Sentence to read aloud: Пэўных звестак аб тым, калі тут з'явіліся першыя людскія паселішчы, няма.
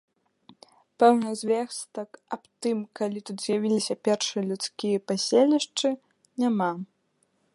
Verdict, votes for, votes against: accepted, 2, 0